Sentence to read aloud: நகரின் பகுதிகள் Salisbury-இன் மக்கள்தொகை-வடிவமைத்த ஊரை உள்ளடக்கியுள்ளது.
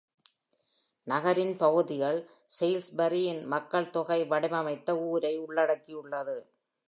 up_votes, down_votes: 2, 0